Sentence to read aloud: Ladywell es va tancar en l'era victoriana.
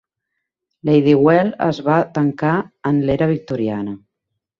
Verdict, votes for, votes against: accepted, 3, 0